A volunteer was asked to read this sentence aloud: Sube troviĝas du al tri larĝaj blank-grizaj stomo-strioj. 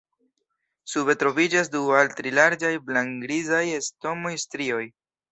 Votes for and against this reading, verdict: 3, 0, accepted